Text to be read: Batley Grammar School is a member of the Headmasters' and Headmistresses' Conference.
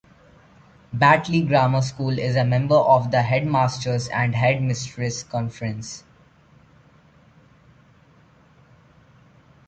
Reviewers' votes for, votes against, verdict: 1, 2, rejected